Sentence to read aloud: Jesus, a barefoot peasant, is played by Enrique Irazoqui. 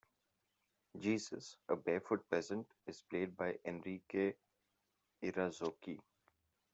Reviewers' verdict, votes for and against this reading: rejected, 1, 2